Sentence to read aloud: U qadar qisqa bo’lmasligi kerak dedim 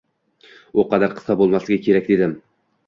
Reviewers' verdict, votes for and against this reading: accepted, 2, 0